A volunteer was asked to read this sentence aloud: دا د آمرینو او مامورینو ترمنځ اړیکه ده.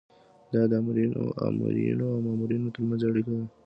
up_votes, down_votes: 0, 2